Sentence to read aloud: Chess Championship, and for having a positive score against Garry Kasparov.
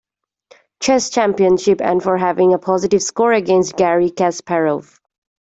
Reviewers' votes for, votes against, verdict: 2, 1, accepted